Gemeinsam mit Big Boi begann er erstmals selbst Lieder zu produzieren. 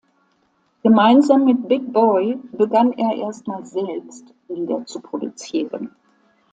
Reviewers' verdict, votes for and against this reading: accepted, 2, 0